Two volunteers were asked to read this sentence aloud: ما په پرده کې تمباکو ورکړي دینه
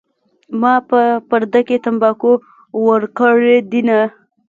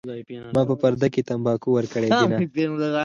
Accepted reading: second